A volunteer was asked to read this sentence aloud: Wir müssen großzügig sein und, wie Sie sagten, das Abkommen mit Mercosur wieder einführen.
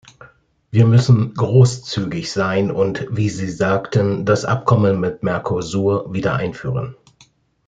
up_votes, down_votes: 2, 0